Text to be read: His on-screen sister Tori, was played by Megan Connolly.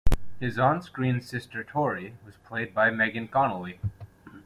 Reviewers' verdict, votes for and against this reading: accepted, 2, 0